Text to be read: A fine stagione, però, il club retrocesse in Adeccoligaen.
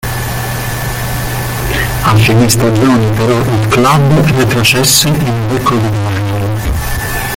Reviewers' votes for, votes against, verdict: 1, 2, rejected